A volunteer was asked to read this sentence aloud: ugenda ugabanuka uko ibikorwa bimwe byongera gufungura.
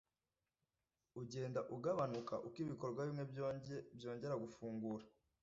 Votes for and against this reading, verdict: 1, 2, rejected